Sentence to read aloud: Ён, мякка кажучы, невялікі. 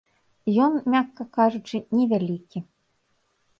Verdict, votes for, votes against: accepted, 2, 0